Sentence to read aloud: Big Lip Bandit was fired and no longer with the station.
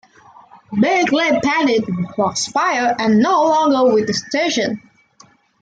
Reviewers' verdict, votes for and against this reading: accepted, 2, 0